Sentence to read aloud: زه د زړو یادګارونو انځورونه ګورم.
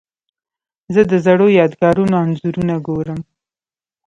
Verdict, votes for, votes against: accepted, 2, 1